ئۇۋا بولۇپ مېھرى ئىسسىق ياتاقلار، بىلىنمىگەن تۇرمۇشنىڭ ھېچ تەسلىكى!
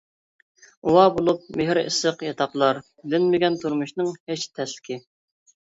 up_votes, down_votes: 1, 2